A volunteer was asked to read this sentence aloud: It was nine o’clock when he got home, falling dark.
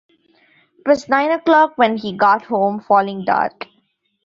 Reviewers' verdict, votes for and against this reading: rejected, 1, 2